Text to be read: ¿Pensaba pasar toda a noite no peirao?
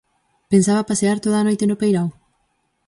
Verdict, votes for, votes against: rejected, 0, 4